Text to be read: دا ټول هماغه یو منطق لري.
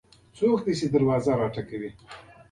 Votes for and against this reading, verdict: 1, 2, rejected